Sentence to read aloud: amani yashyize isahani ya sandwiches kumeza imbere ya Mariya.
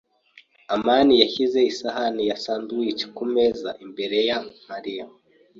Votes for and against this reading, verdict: 2, 0, accepted